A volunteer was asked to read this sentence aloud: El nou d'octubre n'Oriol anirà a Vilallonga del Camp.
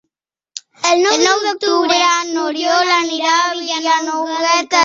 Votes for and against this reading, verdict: 0, 2, rejected